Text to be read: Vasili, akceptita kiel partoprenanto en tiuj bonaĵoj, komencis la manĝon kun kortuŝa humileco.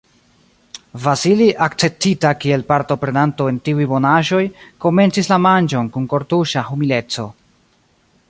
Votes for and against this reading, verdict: 1, 2, rejected